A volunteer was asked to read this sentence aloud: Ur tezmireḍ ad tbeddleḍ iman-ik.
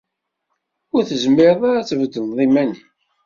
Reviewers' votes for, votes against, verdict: 2, 0, accepted